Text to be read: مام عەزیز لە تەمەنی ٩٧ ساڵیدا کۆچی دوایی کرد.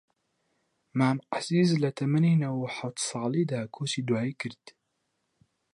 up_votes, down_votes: 0, 2